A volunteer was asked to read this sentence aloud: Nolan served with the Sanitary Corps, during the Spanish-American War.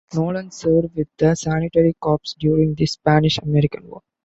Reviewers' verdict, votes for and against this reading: rejected, 0, 2